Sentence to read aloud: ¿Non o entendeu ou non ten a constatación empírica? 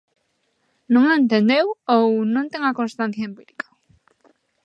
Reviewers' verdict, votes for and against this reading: rejected, 0, 2